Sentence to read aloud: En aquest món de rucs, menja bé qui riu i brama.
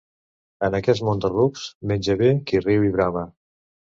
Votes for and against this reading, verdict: 2, 0, accepted